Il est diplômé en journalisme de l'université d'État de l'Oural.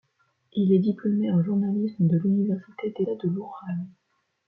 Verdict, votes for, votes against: rejected, 1, 2